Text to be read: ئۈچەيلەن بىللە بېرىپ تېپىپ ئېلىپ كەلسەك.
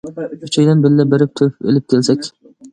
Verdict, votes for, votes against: rejected, 1, 2